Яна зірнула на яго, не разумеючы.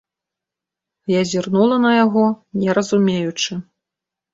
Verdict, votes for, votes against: rejected, 1, 3